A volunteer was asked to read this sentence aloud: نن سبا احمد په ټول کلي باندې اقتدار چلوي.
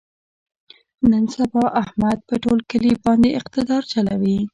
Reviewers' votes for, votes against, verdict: 1, 2, rejected